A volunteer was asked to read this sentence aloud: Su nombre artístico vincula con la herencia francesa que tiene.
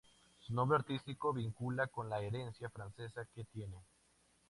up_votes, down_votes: 4, 0